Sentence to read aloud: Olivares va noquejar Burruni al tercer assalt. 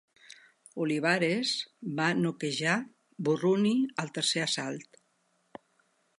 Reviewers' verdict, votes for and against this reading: accepted, 3, 0